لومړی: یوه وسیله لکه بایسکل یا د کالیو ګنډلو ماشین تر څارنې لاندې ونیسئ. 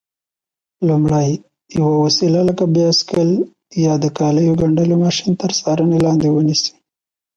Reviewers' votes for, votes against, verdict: 2, 1, accepted